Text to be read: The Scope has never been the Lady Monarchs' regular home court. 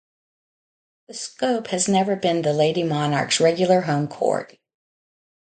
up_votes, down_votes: 2, 0